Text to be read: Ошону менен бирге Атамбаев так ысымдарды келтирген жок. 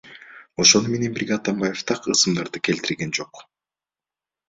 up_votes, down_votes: 2, 0